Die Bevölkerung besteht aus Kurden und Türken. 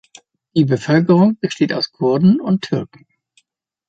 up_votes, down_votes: 3, 0